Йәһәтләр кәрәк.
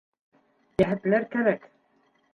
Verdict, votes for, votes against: accepted, 2, 0